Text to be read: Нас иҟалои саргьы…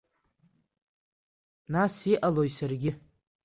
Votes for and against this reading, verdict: 2, 0, accepted